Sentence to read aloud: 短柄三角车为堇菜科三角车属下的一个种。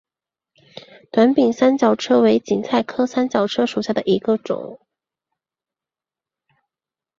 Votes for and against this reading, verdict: 2, 1, accepted